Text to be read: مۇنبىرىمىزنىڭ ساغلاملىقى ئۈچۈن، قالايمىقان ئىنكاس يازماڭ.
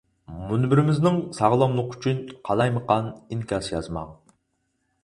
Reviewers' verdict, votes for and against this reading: accepted, 4, 0